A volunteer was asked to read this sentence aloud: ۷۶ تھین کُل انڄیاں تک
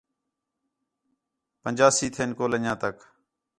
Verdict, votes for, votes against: rejected, 0, 2